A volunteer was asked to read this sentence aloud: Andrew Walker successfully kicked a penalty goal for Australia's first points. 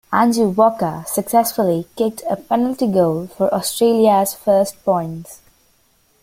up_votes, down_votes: 2, 0